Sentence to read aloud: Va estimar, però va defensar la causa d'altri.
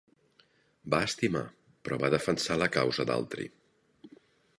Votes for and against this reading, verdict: 2, 0, accepted